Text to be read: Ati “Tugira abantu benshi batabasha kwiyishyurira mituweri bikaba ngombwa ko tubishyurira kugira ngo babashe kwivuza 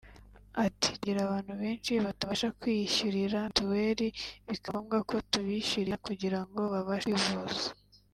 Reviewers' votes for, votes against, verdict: 1, 2, rejected